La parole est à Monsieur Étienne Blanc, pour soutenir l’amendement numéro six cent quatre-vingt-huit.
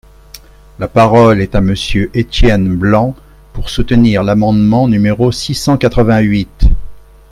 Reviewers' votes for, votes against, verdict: 3, 0, accepted